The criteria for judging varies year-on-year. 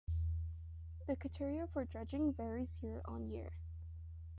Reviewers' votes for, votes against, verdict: 2, 0, accepted